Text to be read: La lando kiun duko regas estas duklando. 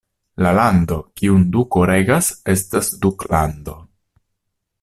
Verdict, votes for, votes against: accepted, 2, 0